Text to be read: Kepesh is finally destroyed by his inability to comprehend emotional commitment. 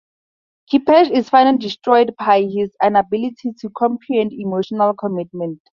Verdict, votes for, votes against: accepted, 2, 0